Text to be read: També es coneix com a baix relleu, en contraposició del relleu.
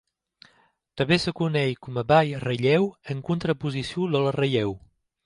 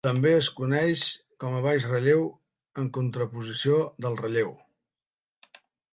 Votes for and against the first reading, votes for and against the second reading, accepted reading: 1, 2, 3, 0, second